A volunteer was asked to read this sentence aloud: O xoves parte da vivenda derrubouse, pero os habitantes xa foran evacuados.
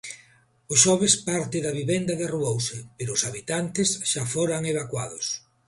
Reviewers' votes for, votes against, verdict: 2, 0, accepted